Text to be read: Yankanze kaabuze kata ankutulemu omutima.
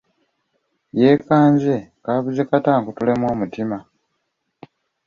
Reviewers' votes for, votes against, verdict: 1, 2, rejected